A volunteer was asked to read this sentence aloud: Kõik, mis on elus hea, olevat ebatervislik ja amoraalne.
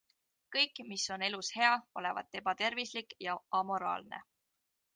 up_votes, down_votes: 2, 0